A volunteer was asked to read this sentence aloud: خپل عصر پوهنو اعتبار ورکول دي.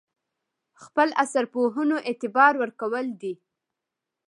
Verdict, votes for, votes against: accepted, 2, 0